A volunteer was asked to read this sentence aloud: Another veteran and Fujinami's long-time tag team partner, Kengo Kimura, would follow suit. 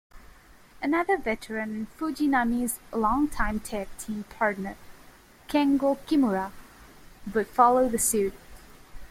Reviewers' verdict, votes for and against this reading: rejected, 0, 2